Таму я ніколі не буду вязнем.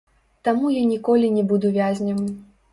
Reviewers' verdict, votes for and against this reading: rejected, 0, 3